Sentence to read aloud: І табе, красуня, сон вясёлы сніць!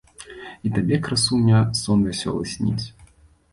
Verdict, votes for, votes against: accepted, 2, 0